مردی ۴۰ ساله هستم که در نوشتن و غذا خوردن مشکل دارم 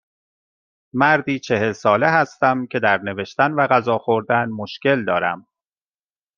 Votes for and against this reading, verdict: 0, 2, rejected